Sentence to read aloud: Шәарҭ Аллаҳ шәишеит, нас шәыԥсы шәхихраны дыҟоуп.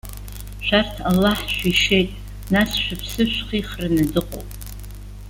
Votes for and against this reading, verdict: 2, 0, accepted